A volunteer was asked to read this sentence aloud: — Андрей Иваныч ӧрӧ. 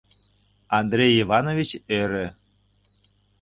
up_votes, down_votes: 0, 2